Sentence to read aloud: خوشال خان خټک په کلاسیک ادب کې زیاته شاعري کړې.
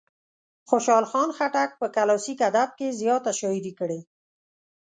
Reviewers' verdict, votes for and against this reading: accepted, 2, 0